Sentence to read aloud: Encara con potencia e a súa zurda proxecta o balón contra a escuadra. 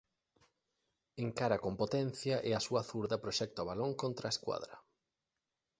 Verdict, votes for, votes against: accepted, 2, 0